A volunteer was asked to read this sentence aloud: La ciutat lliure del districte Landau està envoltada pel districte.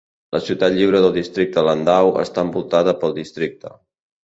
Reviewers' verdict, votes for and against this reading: accepted, 3, 0